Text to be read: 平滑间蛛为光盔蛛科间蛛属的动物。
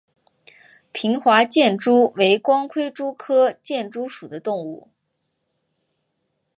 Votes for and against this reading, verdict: 1, 2, rejected